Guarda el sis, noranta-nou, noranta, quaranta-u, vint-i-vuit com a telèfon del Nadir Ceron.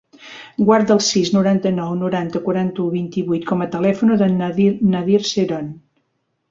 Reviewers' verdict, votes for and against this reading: rejected, 0, 3